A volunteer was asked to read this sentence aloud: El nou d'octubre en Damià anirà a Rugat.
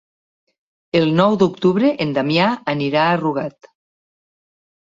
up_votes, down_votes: 2, 0